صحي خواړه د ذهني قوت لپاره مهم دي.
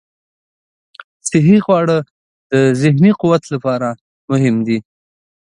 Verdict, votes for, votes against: accepted, 2, 0